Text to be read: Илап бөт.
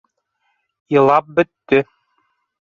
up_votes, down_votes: 0, 2